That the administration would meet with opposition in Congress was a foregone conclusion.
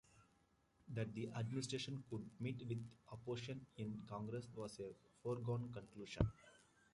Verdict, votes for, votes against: rejected, 0, 2